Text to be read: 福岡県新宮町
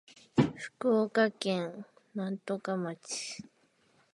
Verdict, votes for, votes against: rejected, 1, 3